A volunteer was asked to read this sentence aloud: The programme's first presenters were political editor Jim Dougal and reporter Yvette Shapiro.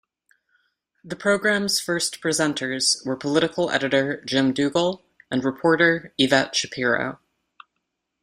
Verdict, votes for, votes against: accepted, 2, 0